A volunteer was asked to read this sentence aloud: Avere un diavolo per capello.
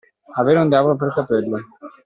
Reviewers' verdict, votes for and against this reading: accepted, 2, 1